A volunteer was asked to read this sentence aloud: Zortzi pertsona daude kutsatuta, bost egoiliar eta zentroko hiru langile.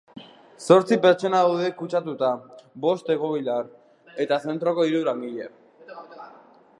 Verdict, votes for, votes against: rejected, 2, 3